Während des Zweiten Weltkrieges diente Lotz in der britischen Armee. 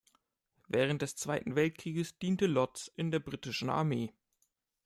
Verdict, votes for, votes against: accepted, 2, 0